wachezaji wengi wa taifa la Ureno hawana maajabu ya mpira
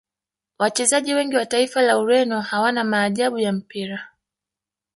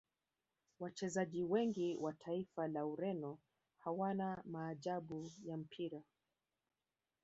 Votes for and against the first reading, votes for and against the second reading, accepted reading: 0, 2, 3, 0, second